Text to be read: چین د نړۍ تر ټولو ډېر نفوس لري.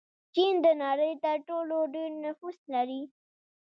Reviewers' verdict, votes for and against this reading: rejected, 1, 2